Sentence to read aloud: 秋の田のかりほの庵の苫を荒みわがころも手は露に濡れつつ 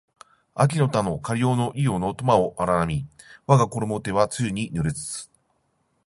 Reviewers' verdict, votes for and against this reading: accepted, 10, 0